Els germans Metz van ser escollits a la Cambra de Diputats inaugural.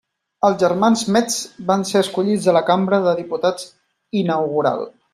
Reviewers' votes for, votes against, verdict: 3, 0, accepted